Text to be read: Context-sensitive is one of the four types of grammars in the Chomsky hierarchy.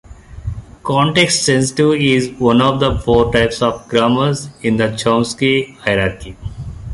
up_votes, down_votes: 0, 2